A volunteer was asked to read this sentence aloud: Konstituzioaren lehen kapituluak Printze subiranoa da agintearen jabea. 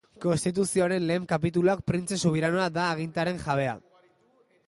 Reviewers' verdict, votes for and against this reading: accepted, 5, 0